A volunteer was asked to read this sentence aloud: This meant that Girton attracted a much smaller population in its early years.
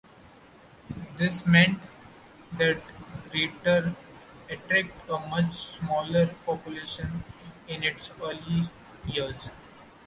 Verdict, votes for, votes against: rejected, 1, 2